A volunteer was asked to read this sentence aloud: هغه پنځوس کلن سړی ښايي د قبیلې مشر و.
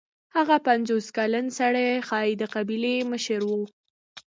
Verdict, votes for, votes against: accepted, 2, 0